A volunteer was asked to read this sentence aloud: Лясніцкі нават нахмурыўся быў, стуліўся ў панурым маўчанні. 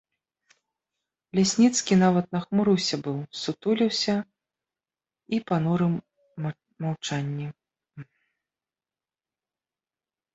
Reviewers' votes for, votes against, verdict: 0, 2, rejected